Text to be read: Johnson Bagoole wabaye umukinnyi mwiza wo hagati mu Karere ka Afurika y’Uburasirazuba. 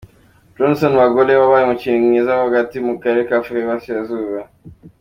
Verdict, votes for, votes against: accepted, 2, 0